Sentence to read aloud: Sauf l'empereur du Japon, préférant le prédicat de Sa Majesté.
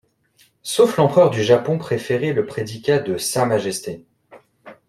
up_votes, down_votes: 0, 2